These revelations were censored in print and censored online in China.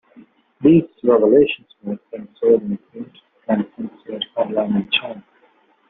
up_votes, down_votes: 0, 2